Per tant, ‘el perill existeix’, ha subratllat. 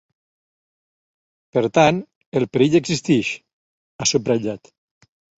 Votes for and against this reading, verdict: 2, 0, accepted